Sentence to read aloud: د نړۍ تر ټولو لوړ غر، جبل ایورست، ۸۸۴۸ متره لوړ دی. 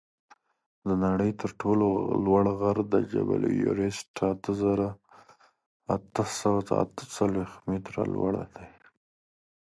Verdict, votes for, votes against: rejected, 0, 2